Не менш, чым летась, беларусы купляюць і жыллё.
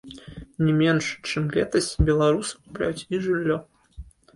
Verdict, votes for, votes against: accepted, 3, 1